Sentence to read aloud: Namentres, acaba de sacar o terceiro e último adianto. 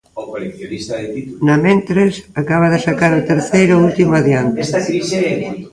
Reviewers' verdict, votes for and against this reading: rejected, 0, 2